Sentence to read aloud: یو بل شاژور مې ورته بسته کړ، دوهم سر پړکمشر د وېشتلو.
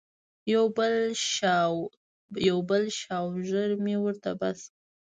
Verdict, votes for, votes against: rejected, 1, 2